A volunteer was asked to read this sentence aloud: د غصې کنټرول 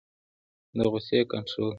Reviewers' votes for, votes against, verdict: 2, 1, accepted